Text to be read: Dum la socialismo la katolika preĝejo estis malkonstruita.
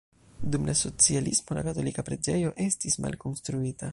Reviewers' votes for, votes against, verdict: 1, 2, rejected